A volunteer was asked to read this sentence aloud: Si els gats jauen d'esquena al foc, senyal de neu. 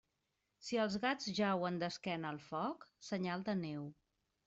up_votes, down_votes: 2, 0